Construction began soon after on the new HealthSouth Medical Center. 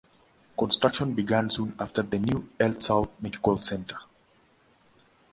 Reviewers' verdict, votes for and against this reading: rejected, 0, 2